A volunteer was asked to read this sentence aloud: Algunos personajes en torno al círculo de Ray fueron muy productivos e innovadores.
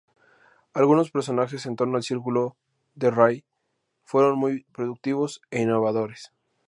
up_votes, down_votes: 2, 0